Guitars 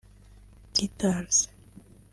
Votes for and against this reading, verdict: 1, 2, rejected